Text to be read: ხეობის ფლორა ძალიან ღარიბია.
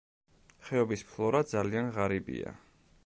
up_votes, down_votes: 2, 0